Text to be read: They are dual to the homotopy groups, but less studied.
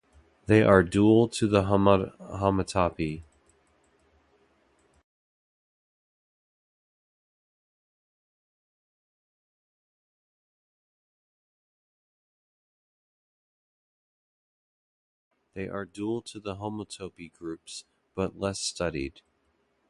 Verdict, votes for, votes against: rejected, 0, 2